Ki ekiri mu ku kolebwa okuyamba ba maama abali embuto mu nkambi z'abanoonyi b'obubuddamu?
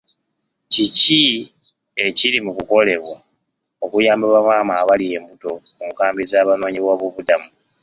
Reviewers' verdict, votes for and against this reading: rejected, 1, 2